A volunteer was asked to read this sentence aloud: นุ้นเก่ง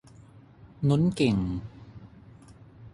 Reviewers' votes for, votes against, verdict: 6, 3, accepted